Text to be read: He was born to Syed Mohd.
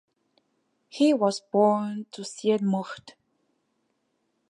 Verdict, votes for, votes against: accepted, 2, 0